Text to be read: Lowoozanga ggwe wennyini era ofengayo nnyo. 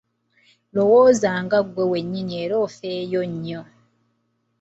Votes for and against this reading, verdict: 0, 3, rejected